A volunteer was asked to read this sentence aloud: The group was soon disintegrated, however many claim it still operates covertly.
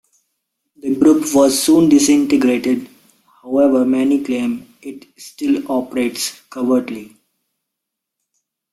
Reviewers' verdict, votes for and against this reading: rejected, 1, 2